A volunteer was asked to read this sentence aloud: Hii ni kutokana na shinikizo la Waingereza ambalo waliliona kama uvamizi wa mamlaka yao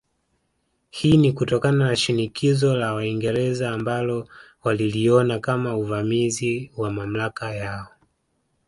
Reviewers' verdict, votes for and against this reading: accepted, 2, 1